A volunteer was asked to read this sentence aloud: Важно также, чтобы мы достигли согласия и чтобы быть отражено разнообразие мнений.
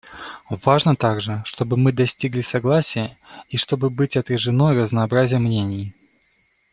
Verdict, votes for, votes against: accepted, 2, 0